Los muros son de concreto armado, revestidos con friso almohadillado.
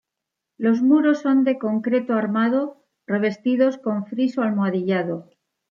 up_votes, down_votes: 2, 0